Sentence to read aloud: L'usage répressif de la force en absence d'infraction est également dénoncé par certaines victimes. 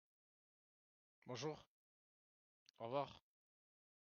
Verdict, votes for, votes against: rejected, 0, 2